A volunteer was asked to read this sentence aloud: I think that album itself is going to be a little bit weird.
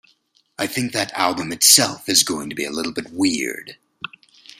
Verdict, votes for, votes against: accepted, 2, 0